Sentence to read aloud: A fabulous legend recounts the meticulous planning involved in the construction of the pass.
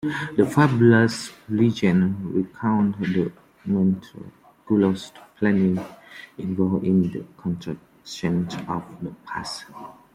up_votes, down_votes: 0, 2